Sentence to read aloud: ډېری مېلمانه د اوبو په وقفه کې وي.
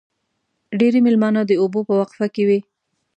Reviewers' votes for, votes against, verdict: 2, 1, accepted